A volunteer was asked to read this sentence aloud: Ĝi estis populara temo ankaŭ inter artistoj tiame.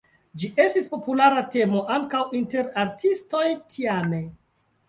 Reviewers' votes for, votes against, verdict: 2, 0, accepted